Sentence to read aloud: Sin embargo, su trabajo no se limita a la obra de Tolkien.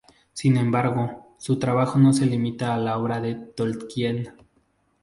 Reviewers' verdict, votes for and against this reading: rejected, 0, 2